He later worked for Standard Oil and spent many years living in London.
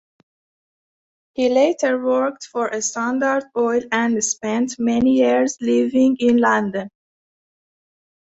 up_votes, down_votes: 0, 2